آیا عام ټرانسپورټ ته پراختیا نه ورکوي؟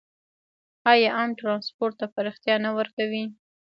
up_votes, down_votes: 1, 2